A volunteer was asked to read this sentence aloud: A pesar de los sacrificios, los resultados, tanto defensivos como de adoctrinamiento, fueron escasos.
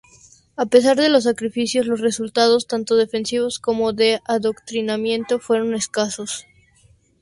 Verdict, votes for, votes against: accepted, 2, 0